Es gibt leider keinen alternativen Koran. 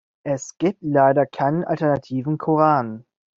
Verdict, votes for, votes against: accepted, 2, 0